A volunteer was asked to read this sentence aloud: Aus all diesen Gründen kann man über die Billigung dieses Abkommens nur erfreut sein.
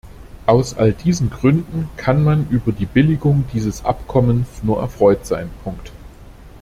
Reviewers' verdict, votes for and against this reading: rejected, 0, 2